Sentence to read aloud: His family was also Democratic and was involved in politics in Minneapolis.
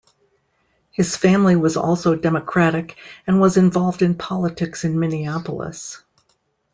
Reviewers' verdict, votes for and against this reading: accepted, 2, 0